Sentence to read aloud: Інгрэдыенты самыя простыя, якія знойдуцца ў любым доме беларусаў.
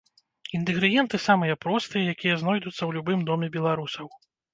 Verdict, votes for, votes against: rejected, 0, 2